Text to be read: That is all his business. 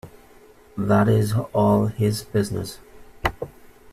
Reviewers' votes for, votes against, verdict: 2, 0, accepted